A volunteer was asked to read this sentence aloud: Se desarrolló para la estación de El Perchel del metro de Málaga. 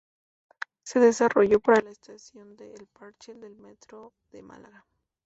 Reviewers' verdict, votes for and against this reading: rejected, 0, 2